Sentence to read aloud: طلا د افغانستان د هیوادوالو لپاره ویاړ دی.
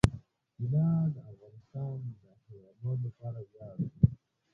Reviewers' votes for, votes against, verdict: 1, 2, rejected